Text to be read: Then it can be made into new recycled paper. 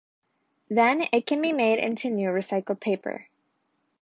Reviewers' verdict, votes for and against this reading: accepted, 2, 0